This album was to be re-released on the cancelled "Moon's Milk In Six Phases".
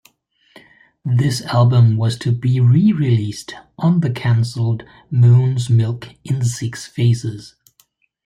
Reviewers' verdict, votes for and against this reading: accepted, 2, 1